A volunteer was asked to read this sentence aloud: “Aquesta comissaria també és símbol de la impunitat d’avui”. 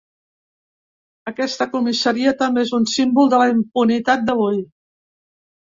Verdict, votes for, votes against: rejected, 1, 3